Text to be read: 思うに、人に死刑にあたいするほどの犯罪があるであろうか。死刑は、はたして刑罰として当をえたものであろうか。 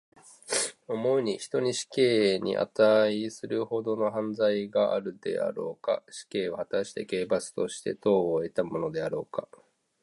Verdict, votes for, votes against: accepted, 2, 1